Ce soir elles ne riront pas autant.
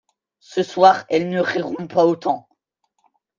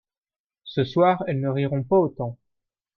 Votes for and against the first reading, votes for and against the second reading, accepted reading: 1, 2, 2, 0, second